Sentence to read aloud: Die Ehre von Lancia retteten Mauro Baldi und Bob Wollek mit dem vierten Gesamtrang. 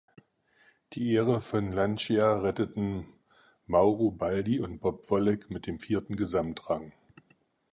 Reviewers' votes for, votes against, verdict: 4, 0, accepted